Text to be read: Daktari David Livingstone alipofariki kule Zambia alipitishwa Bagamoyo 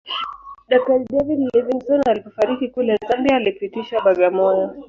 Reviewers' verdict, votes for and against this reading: rejected, 1, 2